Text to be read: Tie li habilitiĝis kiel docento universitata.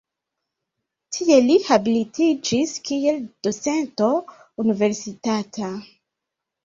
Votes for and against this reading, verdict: 0, 2, rejected